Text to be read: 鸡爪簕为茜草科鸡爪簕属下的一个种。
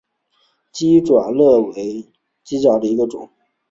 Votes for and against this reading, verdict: 0, 2, rejected